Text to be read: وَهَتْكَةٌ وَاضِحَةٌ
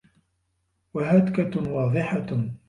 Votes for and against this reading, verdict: 2, 0, accepted